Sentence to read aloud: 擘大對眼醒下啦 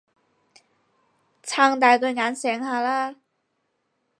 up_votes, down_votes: 0, 4